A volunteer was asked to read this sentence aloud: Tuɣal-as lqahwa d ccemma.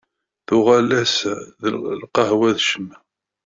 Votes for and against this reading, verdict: 0, 2, rejected